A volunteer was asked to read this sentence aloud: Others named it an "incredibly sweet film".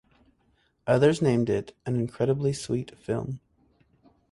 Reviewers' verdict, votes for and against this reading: accepted, 4, 0